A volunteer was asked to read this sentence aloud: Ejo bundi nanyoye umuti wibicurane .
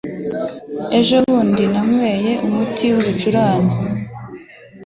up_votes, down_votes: 3, 0